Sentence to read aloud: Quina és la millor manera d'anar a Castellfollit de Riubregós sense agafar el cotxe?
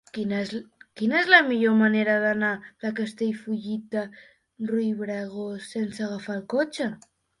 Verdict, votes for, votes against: rejected, 0, 3